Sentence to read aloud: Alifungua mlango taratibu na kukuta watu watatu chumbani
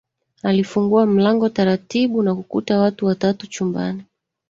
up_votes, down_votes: 1, 2